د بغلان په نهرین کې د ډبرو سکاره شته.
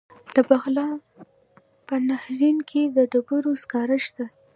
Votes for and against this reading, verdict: 1, 2, rejected